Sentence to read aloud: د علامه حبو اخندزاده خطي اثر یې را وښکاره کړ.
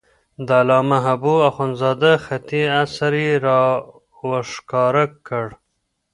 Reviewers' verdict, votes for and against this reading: rejected, 1, 2